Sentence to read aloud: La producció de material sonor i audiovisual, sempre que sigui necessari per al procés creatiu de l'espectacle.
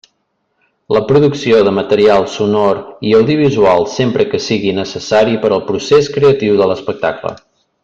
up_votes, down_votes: 3, 0